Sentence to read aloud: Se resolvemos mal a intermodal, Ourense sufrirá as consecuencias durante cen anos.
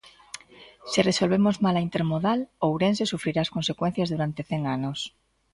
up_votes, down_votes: 2, 0